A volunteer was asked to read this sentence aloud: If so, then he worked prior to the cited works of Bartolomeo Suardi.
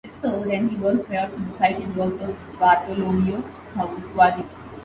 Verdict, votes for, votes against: rejected, 0, 2